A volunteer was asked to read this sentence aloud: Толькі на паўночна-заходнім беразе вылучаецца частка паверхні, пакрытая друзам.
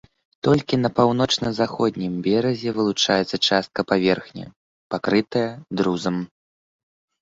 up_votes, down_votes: 3, 0